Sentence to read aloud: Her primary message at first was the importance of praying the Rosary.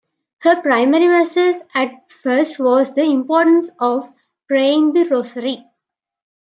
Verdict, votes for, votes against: rejected, 0, 2